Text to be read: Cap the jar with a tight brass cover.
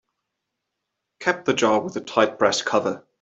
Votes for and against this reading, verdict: 2, 0, accepted